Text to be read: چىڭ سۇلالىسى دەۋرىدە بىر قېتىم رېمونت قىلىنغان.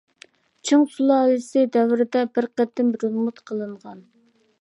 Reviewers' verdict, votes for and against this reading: rejected, 1, 2